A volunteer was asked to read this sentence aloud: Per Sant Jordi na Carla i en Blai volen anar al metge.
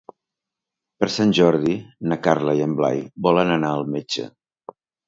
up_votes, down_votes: 2, 0